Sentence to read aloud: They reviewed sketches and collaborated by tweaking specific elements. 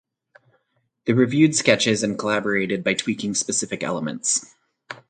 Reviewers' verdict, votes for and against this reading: accepted, 4, 0